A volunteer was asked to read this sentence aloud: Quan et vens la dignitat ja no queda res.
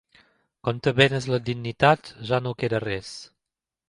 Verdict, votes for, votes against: rejected, 1, 2